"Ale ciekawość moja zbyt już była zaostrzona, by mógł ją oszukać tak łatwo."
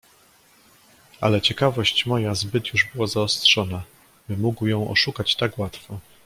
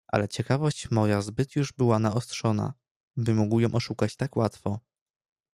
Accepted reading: first